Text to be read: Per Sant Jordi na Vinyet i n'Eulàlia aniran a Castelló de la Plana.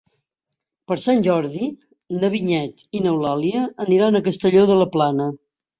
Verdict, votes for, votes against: accepted, 3, 0